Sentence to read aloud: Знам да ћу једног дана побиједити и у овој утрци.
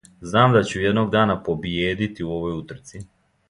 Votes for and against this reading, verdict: 1, 2, rejected